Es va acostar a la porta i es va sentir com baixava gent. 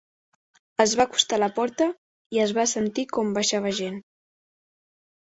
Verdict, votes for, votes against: accepted, 3, 0